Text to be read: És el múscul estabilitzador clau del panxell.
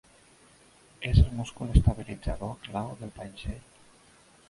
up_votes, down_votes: 1, 2